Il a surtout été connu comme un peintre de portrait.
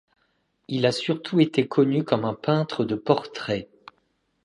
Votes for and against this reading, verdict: 2, 0, accepted